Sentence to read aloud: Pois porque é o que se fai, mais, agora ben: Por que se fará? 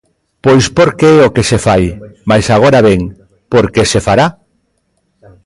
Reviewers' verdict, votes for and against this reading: accepted, 2, 0